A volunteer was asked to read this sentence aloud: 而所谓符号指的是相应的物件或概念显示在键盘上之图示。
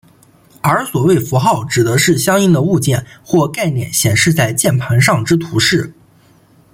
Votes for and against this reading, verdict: 2, 0, accepted